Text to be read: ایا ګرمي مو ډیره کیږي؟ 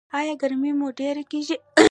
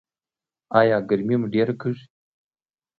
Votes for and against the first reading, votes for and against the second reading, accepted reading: 0, 2, 2, 0, second